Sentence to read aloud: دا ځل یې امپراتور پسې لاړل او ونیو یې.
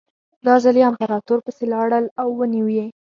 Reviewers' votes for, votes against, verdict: 6, 0, accepted